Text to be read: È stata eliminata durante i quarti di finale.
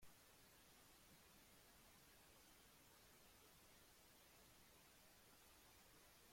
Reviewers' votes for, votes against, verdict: 0, 2, rejected